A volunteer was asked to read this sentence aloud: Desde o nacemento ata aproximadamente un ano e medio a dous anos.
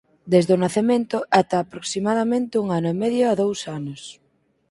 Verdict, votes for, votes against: accepted, 4, 0